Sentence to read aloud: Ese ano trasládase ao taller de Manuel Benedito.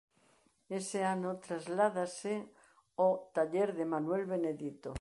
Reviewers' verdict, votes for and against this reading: accepted, 2, 0